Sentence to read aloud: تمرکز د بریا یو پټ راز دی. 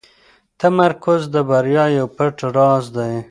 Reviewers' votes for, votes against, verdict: 2, 0, accepted